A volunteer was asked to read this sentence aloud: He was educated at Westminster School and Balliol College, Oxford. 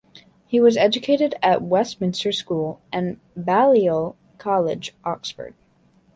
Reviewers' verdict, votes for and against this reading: accepted, 2, 0